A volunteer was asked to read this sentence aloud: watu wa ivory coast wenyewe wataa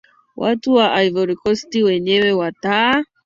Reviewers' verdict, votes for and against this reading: accepted, 2, 0